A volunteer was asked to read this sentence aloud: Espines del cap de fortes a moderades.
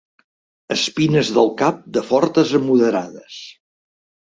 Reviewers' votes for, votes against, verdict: 2, 0, accepted